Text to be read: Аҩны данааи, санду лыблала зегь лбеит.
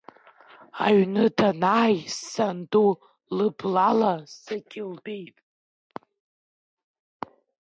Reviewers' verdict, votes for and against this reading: rejected, 1, 2